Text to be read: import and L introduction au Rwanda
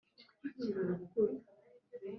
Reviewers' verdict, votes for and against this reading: rejected, 1, 4